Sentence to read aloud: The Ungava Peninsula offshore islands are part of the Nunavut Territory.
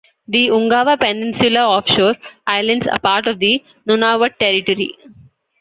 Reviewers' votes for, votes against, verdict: 1, 2, rejected